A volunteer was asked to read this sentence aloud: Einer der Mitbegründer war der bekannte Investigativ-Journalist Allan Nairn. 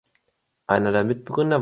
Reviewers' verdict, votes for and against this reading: rejected, 1, 2